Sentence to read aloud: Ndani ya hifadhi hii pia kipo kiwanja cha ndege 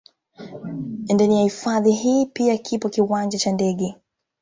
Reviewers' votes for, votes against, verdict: 2, 1, accepted